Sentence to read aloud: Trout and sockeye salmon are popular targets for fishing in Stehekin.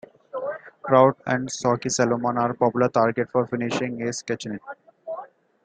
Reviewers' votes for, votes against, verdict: 2, 0, accepted